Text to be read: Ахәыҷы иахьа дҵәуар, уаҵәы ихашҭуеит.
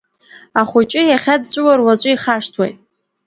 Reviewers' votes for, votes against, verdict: 2, 0, accepted